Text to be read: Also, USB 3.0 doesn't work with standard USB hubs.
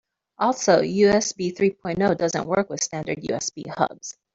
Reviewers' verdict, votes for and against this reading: rejected, 0, 2